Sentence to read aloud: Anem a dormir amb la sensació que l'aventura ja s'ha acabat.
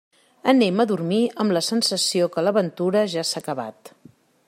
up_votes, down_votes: 3, 0